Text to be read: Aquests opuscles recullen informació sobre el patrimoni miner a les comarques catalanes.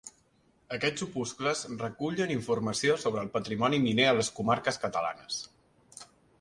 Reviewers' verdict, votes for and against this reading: accepted, 2, 0